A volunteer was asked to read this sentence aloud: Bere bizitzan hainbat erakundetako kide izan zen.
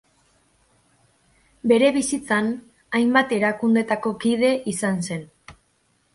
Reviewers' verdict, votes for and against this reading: accepted, 2, 0